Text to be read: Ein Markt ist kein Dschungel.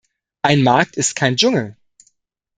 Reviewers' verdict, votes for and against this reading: accepted, 2, 0